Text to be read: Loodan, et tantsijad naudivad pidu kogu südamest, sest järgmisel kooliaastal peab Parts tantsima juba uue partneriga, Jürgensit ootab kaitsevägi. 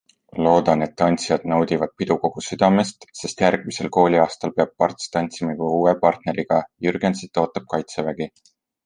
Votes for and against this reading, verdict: 2, 0, accepted